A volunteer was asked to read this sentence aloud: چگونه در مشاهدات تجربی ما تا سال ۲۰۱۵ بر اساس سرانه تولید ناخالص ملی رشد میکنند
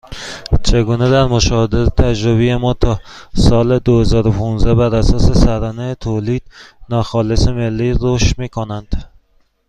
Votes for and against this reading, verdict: 0, 2, rejected